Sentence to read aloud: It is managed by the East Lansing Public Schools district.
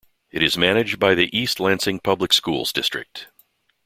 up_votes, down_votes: 2, 0